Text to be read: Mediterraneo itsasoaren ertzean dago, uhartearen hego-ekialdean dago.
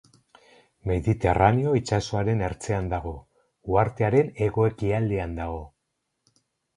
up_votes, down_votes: 2, 2